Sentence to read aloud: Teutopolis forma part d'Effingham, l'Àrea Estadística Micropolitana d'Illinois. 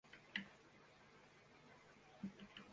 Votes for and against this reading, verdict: 0, 2, rejected